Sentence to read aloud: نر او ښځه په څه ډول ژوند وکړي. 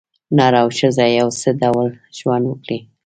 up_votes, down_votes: 1, 2